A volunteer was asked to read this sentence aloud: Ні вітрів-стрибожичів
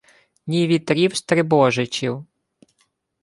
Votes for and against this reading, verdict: 2, 0, accepted